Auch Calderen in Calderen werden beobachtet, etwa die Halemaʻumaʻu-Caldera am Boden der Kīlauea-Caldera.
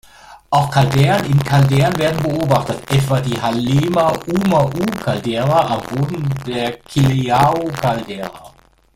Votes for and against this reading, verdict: 1, 2, rejected